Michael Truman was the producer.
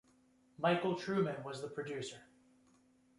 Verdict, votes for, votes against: rejected, 1, 2